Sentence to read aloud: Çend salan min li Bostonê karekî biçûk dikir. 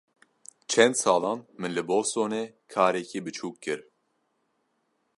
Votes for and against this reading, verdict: 1, 2, rejected